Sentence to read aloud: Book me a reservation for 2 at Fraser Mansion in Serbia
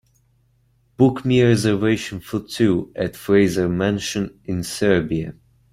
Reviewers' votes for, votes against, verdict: 0, 2, rejected